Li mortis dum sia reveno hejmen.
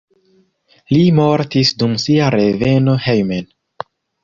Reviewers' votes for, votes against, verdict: 0, 2, rejected